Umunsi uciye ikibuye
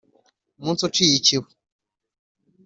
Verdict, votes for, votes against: accepted, 3, 0